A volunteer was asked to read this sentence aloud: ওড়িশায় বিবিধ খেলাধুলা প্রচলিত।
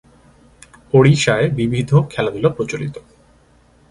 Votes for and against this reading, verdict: 2, 0, accepted